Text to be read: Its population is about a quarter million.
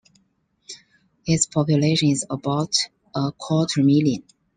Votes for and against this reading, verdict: 2, 0, accepted